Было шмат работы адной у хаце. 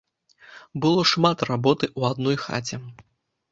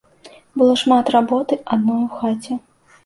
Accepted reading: second